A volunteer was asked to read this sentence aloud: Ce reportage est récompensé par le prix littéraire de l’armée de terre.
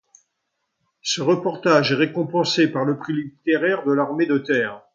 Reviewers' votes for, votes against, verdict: 2, 0, accepted